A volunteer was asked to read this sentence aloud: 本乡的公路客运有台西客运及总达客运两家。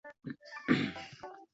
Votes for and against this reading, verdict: 0, 2, rejected